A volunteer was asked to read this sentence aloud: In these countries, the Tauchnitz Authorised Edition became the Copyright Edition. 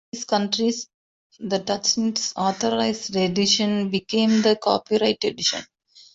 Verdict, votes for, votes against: rejected, 1, 2